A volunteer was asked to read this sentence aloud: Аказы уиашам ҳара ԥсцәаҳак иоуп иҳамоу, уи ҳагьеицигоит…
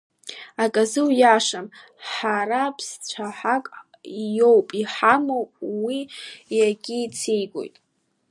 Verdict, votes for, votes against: rejected, 0, 2